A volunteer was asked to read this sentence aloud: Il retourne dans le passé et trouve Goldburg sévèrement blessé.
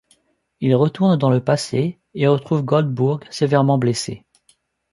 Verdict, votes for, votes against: rejected, 0, 2